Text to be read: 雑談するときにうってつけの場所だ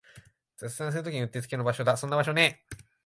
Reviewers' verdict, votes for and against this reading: rejected, 7, 10